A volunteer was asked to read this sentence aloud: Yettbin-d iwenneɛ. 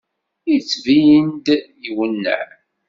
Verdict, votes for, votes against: accepted, 2, 0